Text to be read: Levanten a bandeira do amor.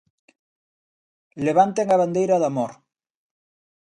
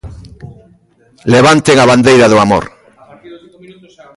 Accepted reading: first